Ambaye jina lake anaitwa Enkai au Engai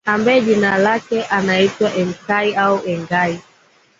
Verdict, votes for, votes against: accepted, 2, 0